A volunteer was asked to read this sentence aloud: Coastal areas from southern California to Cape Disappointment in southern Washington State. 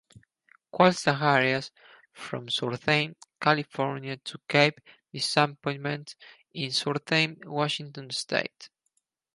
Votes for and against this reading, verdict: 0, 2, rejected